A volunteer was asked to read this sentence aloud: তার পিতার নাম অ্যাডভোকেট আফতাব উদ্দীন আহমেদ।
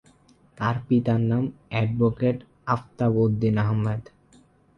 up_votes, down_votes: 8, 4